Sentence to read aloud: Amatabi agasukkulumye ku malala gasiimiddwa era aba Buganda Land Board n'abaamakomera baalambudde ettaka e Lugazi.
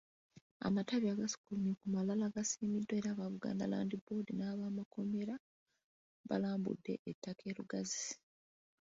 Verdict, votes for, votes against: accepted, 2, 0